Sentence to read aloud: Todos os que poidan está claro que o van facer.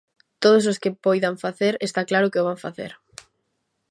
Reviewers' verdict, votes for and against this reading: rejected, 1, 2